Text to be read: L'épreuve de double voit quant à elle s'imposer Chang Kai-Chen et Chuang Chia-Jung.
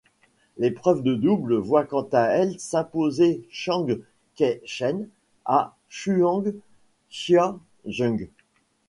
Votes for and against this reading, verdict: 0, 2, rejected